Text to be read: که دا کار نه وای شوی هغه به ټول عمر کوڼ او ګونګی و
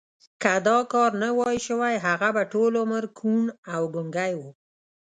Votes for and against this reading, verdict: 2, 0, accepted